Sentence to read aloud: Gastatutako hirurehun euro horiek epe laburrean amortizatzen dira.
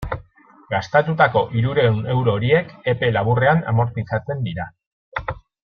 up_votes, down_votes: 2, 0